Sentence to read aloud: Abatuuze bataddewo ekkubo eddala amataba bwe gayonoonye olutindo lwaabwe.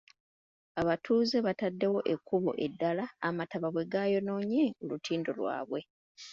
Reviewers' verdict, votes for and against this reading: accepted, 2, 0